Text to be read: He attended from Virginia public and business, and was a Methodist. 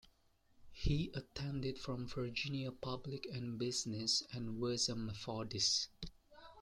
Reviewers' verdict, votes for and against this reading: accepted, 2, 0